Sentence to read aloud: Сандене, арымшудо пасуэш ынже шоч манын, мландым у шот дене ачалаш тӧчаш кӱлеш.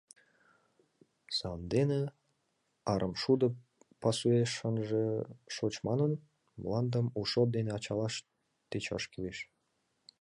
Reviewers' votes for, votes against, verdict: 0, 2, rejected